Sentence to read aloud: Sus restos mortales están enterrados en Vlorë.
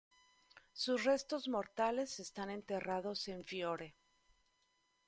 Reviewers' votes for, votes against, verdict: 1, 2, rejected